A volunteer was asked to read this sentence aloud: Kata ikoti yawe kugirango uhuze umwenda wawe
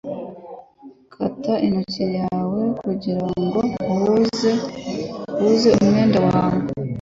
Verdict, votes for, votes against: rejected, 0, 2